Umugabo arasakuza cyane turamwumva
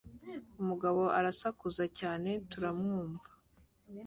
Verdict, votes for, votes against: accepted, 2, 0